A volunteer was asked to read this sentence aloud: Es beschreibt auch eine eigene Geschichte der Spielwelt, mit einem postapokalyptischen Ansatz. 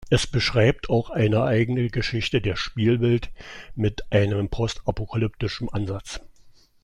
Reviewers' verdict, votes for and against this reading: accepted, 2, 0